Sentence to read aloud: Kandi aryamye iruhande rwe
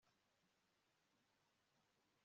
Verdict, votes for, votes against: rejected, 1, 2